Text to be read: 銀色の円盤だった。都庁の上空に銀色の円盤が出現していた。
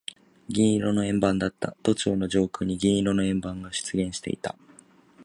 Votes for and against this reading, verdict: 2, 0, accepted